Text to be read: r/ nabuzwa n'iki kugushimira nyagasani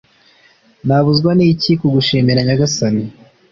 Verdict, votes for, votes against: accepted, 2, 0